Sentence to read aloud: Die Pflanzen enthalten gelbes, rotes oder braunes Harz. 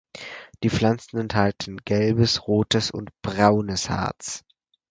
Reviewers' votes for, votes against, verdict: 2, 4, rejected